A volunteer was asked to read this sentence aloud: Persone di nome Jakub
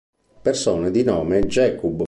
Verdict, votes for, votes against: rejected, 0, 2